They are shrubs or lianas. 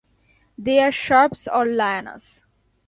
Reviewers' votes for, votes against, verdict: 2, 0, accepted